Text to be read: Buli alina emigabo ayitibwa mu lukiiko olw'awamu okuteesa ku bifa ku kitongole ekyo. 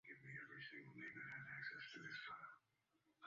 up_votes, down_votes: 0, 2